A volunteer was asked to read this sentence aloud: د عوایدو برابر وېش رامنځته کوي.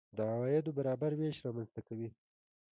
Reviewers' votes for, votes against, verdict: 2, 0, accepted